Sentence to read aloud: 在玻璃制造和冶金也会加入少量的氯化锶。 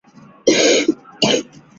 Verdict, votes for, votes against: rejected, 0, 2